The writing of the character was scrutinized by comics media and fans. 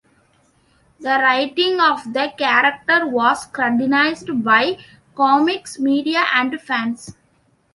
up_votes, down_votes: 2, 1